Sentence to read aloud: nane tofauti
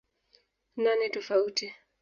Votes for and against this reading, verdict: 1, 2, rejected